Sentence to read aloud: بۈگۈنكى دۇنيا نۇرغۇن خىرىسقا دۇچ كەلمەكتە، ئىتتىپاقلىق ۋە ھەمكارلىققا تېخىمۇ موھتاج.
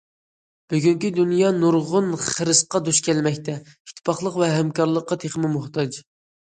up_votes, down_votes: 2, 0